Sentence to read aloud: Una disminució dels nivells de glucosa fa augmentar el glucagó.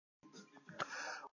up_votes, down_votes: 0, 2